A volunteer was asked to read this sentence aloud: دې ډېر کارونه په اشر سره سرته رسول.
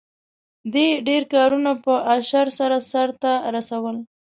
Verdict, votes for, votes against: accepted, 2, 0